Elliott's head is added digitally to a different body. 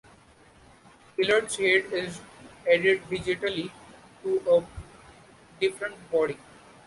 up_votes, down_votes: 2, 0